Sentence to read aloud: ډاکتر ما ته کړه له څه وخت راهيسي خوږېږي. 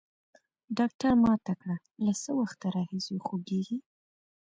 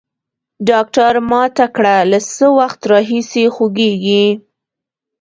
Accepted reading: first